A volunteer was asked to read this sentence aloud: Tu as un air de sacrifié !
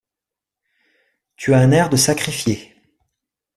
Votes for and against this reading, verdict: 2, 0, accepted